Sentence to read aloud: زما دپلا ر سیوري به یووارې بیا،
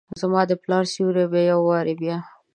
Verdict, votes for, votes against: accepted, 2, 0